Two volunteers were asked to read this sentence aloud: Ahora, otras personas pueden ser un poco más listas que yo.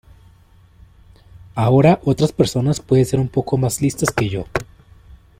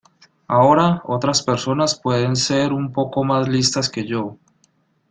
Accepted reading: first